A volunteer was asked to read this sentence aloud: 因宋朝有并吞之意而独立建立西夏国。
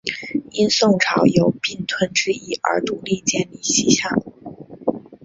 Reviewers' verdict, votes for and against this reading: accepted, 4, 3